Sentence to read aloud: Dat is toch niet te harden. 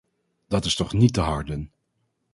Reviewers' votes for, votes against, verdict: 2, 0, accepted